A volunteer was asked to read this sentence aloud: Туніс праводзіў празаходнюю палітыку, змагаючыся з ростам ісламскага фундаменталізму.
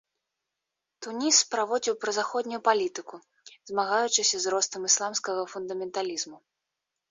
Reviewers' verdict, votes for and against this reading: accepted, 3, 0